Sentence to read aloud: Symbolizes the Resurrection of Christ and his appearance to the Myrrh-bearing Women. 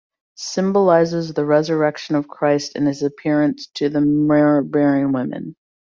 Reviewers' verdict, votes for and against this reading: accepted, 2, 1